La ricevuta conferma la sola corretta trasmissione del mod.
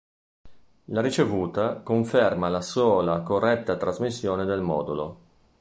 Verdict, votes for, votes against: rejected, 0, 2